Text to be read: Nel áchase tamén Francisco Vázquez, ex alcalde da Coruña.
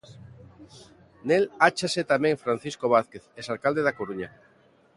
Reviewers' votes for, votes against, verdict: 2, 0, accepted